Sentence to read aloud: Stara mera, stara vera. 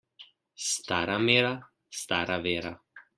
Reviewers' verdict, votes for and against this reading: accepted, 2, 0